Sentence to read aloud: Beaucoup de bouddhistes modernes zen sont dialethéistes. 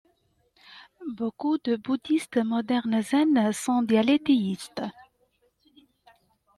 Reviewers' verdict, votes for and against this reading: accepted, 2, 0